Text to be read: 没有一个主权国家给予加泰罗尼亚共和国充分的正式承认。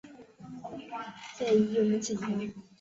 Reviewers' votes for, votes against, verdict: 0, 2, rejected